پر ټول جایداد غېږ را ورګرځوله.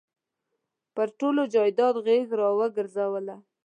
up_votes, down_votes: 1, 2